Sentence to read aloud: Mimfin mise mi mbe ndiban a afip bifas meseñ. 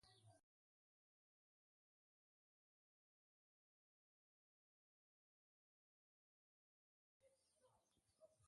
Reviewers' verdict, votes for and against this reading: rejected, 0, 3